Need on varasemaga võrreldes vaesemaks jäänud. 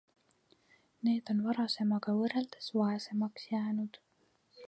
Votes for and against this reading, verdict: 2, 0, accepted